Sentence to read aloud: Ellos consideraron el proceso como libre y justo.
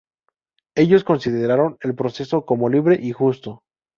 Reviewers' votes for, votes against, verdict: 2, 0, accepted